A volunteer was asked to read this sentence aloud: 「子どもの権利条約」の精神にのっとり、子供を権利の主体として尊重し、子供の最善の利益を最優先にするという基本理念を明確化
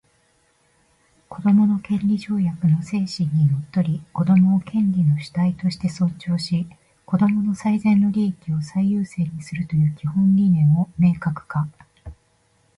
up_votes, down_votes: 0, 2